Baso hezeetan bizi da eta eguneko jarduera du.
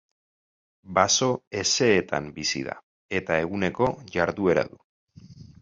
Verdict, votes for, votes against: rejected, 2, 2